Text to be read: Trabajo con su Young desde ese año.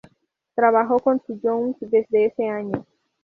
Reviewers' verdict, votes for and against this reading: accepted, 2, 0